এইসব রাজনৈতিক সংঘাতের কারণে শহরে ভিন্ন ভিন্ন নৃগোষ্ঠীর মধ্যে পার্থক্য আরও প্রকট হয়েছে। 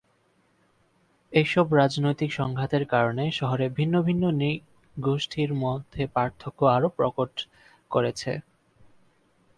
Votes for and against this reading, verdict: 0, 2, rejected